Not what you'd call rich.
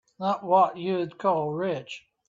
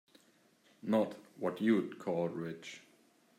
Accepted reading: second